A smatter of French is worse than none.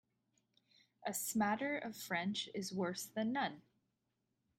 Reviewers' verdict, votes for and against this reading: accepted, 2, 0